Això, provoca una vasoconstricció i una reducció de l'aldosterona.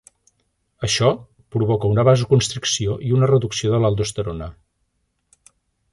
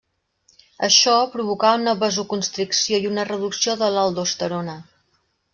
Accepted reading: first